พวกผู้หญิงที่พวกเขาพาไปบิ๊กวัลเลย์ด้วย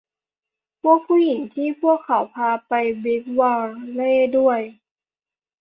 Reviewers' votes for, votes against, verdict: 2, 0, accepted